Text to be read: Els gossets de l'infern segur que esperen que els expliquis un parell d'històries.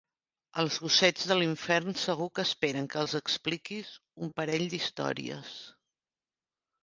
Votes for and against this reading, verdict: 3, 0, accepted